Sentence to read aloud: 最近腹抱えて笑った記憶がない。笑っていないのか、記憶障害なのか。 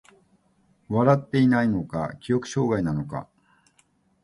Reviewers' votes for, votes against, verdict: 0, 2, rejected